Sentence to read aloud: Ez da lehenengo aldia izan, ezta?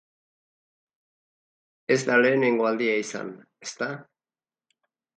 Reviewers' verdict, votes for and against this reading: accepted, 2, 0